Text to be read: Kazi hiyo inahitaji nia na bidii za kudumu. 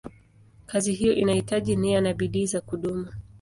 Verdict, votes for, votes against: accepted, 12, 0